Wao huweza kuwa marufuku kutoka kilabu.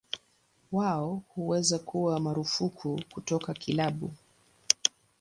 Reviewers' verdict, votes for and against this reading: accepted, 2, 0